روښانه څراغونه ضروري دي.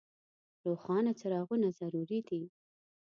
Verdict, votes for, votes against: rejected, 1, 2